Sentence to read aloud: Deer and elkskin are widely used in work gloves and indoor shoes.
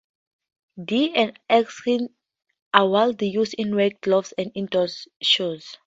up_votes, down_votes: 0, 4